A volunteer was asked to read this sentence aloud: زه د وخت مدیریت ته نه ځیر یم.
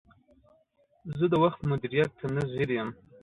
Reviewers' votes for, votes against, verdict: 2, 0, accepted